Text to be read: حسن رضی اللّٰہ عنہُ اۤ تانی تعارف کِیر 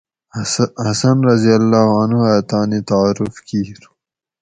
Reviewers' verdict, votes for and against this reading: rejected, 2, 2